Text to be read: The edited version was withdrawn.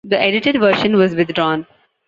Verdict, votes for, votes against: accepted, 2, 1